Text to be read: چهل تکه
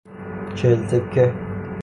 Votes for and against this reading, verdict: 0, 3, rejected